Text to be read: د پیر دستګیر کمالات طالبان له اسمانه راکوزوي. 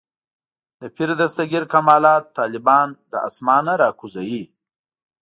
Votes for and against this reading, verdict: 2, 0, accepted